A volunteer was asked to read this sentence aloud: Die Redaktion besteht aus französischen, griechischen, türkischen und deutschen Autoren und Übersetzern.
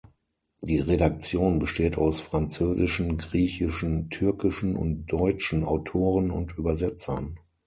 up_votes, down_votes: 6, 0